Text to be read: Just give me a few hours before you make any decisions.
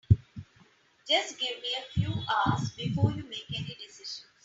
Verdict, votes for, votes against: accepted, 2, 1